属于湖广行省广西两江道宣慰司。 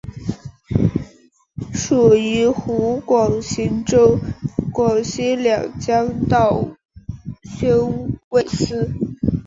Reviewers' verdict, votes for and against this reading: rejected, 1, 2